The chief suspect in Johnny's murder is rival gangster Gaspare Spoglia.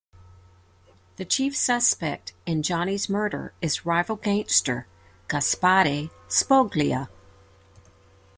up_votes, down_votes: 2, 0